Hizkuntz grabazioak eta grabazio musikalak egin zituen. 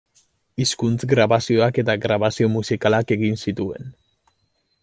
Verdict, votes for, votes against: accepted, 2, 0